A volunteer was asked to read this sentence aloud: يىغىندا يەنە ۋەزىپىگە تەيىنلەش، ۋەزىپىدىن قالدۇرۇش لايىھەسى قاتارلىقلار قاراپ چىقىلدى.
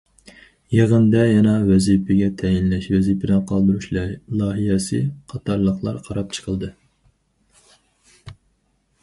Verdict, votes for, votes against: rejected, 2, 2